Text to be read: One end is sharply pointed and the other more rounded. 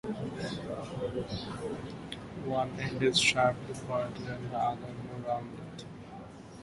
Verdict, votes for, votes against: rejected, 1, 2